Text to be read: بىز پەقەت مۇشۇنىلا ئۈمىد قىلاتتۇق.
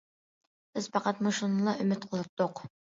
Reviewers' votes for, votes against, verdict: 2, 0, accepted